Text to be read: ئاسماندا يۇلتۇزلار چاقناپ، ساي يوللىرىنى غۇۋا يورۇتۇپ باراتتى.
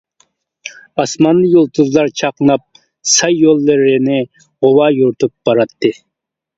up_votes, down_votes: 0, 2